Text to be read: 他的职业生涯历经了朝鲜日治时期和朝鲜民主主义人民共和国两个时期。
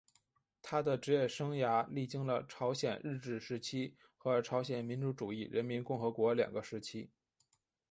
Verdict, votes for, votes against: accepted, 3, 1